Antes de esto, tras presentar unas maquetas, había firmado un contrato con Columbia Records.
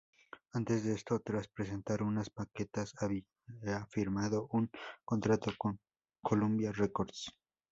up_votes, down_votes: 2, 0